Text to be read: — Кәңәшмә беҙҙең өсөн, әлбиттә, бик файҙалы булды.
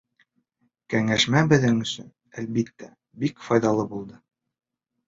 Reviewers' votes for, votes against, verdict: 2, 0, accepted